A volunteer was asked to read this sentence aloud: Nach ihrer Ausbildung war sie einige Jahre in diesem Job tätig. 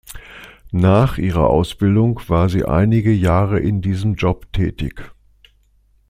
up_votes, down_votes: 2, 0